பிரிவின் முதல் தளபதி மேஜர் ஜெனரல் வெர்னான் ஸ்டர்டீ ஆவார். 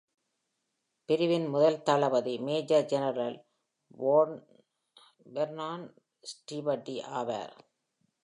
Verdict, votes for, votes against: rejected, 0, 2